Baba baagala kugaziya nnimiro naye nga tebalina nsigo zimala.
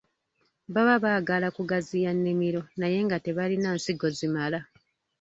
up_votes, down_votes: 1, 2